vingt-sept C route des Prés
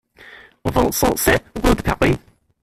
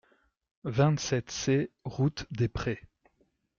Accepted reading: second